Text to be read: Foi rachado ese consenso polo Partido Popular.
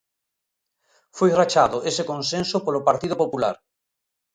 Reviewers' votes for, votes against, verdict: 2, 0, accepted